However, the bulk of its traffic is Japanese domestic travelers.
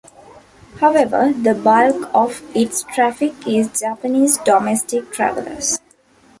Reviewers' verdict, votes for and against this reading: accepted, 2, 0